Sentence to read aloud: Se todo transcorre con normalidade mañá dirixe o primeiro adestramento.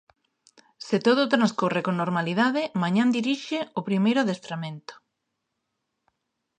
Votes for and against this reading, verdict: 0, 2, rejected